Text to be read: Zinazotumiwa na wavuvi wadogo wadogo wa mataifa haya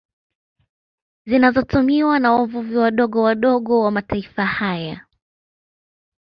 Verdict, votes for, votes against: accepted, 2, 0